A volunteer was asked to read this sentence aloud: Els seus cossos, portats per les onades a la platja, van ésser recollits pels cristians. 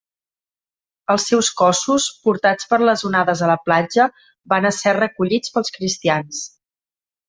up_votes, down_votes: 2, 0